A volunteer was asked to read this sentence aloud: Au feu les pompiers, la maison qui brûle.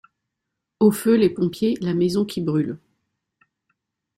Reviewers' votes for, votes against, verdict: 2, 0, accepted